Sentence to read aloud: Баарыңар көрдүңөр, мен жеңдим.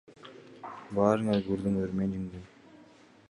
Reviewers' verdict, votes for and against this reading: rejected, 1, 2